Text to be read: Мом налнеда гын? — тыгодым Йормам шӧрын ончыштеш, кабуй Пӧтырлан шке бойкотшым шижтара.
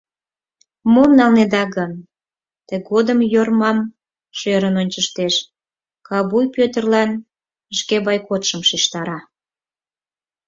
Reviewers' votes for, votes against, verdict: 4, 0, accepted